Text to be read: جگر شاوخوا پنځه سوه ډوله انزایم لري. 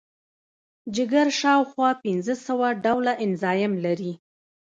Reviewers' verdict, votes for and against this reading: rejected, 1, 2